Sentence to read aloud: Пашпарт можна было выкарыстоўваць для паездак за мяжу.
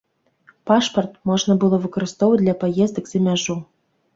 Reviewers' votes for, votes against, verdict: 2, 0, accepted